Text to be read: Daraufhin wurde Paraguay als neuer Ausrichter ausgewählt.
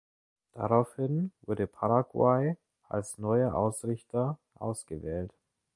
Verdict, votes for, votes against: accepted, 2, 0